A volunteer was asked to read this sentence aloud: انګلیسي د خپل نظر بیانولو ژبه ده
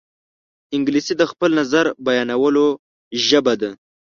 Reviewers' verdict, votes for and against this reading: accepted, 2, 0